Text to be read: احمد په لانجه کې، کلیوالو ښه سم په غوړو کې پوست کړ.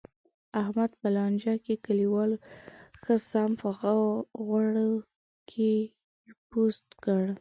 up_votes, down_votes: 3, 0